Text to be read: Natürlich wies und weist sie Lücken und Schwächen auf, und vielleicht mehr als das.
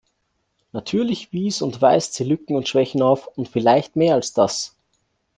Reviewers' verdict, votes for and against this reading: accepted, 2, 1